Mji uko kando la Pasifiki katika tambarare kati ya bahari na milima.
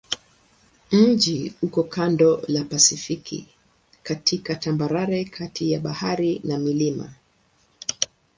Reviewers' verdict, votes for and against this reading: accepted, 2, 0